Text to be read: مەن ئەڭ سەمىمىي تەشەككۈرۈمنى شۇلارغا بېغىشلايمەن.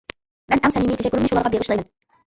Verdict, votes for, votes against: rejected, 0, 2